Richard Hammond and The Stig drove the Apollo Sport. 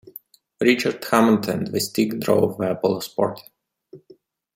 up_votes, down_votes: 0, 2